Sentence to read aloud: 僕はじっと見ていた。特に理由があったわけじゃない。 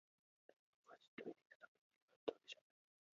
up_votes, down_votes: 0, 2